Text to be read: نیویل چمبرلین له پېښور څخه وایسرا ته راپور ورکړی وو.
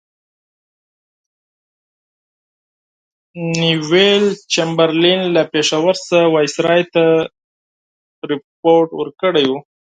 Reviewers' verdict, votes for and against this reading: rejected, 0, 4